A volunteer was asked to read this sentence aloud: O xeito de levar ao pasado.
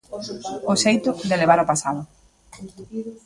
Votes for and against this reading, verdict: 0, 2, rejected